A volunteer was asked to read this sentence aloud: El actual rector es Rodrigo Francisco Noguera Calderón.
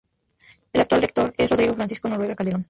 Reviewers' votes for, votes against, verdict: 0, 2, rejected